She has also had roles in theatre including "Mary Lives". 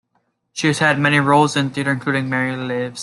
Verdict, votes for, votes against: accepted, 2, 1